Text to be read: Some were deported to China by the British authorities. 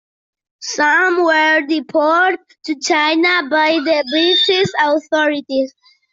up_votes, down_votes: 0, 2